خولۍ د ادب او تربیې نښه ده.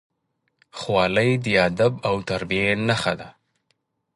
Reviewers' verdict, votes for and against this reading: accepted, 2, 0